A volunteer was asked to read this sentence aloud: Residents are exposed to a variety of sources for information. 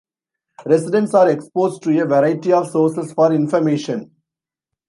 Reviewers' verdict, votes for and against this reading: rejected, 1, 2